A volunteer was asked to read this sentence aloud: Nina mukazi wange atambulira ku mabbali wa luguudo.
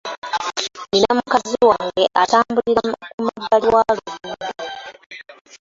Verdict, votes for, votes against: rejected, 0, 2